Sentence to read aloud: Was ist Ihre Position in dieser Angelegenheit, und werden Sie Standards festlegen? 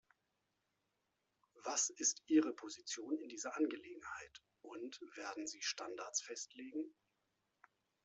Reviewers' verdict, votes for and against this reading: accepted, 2, 0